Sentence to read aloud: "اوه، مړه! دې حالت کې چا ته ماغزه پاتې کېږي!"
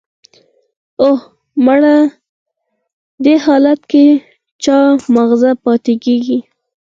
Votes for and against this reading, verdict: 2, 4, rejected